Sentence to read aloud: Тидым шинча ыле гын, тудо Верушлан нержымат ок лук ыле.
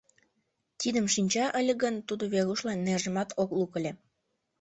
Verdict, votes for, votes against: rejected, 0, 2